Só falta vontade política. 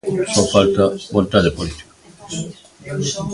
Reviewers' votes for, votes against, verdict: 2, 0, accepted